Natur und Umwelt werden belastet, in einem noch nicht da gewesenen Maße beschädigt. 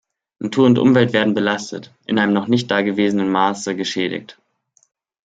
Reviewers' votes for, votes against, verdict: 1, 2, rejected